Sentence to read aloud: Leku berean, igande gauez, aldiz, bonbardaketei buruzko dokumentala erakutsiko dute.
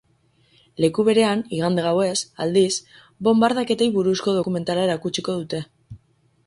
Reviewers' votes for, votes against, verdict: 8, 2, accepted